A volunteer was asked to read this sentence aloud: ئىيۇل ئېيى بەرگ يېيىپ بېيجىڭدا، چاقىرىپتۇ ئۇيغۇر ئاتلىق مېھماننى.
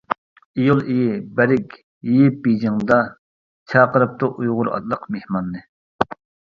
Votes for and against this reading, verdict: 0, 2, rejected